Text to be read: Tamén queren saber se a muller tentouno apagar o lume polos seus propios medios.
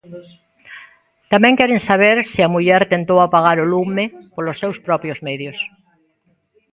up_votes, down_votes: 0, 2